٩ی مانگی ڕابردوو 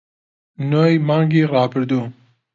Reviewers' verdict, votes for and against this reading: rejected, 0, 2